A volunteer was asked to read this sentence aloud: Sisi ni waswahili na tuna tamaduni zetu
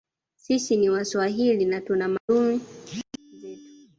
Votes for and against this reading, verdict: 0, 2, rejected